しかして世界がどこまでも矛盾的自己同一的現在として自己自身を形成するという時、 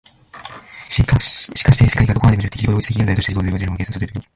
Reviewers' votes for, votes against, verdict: 1, 3, rejected